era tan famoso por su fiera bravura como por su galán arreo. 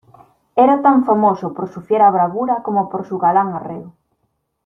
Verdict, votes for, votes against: accepted, 2, 0